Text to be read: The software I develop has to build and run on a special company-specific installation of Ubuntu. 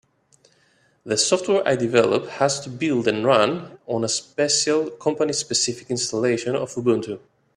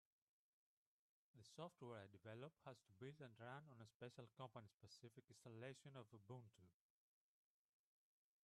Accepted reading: first